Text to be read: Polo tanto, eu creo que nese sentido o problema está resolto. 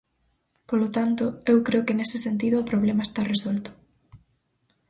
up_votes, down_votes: 4, 0